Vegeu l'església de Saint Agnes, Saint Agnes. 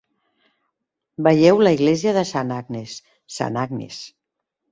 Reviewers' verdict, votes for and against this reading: rejected, 0, 2